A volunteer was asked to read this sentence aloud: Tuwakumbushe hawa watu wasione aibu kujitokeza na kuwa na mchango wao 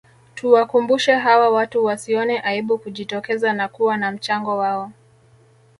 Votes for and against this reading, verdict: 2, 0, accepted